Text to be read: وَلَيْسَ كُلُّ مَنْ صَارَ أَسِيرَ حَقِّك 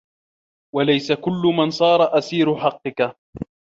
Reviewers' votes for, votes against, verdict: 2, 0, accepted